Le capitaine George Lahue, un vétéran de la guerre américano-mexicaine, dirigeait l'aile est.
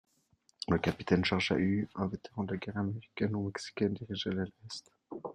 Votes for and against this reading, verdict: 0, 2, rejected